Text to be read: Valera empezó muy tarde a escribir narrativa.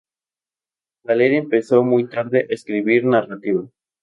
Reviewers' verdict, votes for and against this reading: rejected, 0, 2